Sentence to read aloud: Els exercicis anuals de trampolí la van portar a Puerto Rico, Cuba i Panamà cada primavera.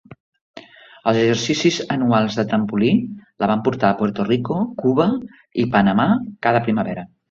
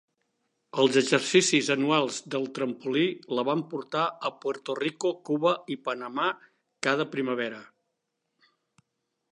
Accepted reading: first